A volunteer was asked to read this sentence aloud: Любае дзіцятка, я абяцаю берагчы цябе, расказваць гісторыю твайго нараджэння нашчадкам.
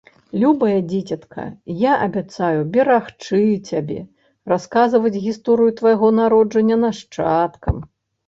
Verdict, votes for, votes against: rejected, 1, 2